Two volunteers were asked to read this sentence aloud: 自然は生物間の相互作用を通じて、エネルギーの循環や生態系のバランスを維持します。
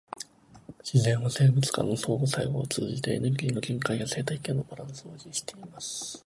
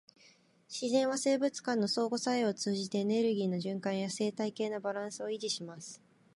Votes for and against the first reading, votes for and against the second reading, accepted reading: 1, 2, 2, 1, second